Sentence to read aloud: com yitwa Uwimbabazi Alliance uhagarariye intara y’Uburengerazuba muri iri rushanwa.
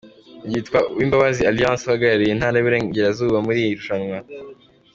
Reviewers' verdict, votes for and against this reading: accepted, 2, 1